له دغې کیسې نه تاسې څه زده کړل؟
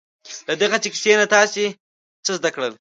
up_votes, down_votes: 0, 2